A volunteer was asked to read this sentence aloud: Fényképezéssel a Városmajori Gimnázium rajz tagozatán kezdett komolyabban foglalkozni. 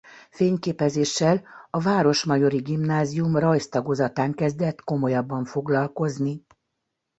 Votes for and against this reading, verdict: 2, 0, accepted